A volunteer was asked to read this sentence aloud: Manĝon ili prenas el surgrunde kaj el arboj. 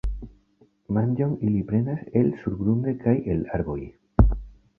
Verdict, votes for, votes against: accepted, 2, 0